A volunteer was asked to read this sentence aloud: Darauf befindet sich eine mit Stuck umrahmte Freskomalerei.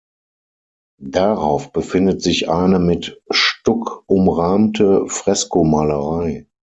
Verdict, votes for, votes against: accepted, 6, 0